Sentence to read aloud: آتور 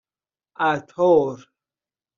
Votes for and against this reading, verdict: 0, 2, rejected